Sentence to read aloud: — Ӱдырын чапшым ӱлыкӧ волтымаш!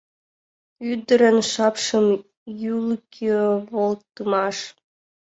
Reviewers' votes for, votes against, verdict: 1, 3, rejected